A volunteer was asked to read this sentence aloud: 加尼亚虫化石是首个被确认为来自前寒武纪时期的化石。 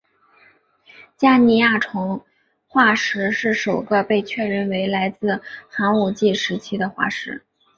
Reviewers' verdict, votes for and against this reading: accepted, 2, 1